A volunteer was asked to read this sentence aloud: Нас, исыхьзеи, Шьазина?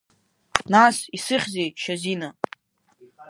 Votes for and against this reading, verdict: 6, 1, accepted